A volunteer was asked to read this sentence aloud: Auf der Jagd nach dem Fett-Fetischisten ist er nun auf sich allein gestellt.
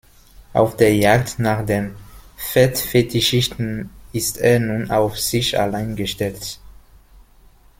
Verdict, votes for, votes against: rejected, 1, 2